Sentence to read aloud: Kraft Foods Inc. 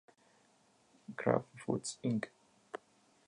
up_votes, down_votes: 0, 2